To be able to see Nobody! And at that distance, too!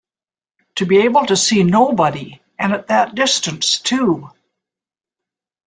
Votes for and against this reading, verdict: 2, 0, accepted